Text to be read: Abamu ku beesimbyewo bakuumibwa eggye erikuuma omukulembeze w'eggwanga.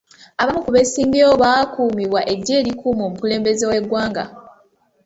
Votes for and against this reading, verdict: 0, 2, rejected